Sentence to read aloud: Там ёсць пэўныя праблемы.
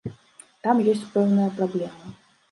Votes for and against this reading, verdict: 2, 0, accepted